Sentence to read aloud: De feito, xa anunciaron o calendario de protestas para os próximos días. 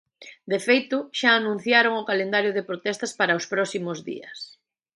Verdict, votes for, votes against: accepted, 2, 1